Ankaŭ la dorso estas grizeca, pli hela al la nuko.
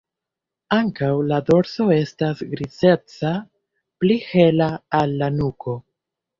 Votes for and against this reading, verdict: 1, 2, rejected